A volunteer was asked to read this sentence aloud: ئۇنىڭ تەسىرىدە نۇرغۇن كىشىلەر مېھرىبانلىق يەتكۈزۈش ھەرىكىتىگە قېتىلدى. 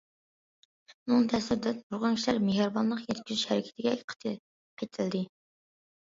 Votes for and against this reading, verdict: 0, 2, rejected